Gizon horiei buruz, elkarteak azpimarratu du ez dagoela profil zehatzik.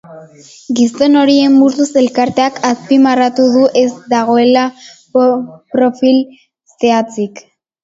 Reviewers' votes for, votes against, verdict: 0, 2, rejected